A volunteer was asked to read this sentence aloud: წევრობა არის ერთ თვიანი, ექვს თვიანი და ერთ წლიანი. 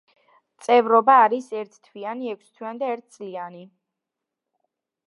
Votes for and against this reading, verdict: 2, 0, accepted